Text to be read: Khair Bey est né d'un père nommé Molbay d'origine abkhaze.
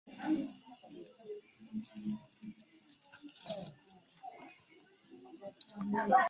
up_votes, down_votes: 0, 2